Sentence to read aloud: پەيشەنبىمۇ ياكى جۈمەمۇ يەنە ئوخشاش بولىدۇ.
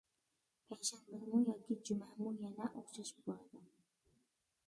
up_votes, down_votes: 0, 2